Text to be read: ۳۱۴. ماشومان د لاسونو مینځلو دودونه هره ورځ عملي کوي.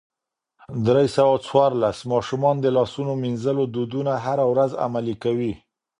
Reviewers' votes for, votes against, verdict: 0, 2, rejected